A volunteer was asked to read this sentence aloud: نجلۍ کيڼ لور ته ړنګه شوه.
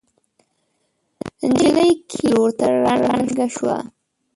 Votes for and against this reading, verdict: 1, 2, rejected